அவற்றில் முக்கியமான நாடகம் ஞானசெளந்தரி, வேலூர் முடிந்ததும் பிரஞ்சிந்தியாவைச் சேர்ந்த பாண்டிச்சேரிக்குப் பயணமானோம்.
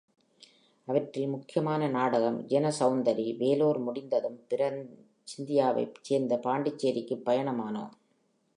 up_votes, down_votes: 0, 2